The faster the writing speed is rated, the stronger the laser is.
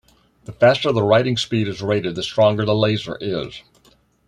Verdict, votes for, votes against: accepted, 2, 0